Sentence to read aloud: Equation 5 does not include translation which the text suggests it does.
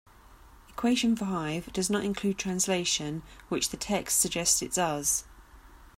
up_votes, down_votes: 0, 2